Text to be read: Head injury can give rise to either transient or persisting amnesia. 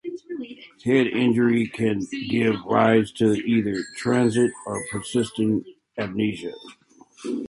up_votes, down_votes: 2, 1